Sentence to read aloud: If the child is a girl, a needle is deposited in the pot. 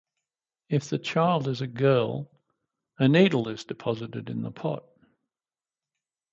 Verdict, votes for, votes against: accepted, 4, 0